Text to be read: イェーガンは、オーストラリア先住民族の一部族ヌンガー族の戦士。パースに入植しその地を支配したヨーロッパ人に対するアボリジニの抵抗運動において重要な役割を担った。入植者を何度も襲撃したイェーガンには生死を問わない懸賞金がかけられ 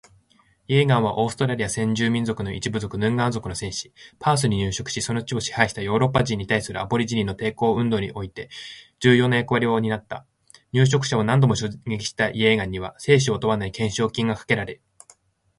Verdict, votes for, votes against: accepted, 2, 0